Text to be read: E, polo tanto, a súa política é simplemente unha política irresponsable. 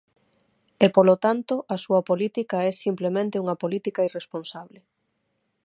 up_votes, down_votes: 6, 0